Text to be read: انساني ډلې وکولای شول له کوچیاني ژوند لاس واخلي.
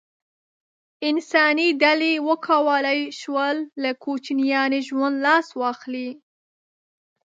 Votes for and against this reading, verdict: 1, 2, rejected